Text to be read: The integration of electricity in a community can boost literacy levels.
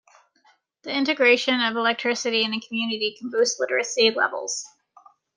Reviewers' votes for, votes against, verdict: 2, 0, accepted